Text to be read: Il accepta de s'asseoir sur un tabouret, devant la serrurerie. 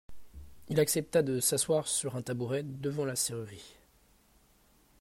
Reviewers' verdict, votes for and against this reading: accepted, 2, 0